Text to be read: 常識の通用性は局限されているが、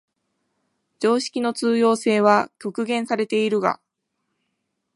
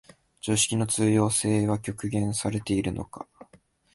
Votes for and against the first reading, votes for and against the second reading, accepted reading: 15, 1, 1, 2, first